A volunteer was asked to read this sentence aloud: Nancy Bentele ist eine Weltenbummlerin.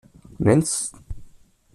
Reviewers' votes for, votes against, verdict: 0, 2, rejected